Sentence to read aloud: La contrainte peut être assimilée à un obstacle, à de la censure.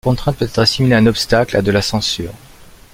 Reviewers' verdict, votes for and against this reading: rejected, 1, 2